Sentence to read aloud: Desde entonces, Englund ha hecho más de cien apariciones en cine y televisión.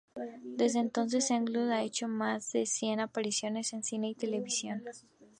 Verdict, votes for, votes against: accepted, 2, 0